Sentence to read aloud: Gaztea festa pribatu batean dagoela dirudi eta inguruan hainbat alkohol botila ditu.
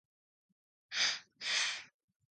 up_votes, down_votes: 0, 2